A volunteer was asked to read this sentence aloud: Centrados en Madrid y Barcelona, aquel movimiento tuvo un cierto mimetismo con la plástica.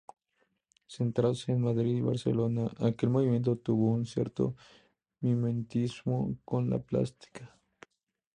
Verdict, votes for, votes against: rejected, 0, 2